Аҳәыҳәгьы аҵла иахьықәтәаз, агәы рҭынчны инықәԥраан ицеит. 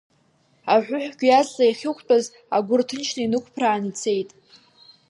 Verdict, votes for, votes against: accepted, 3, 0